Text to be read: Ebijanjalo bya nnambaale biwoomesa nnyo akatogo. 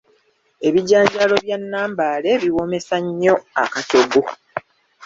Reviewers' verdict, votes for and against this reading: rejected, 0, 2